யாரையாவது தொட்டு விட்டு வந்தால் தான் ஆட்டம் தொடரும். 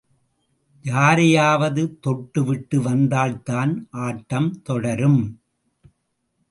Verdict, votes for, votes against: accepted, 2, 0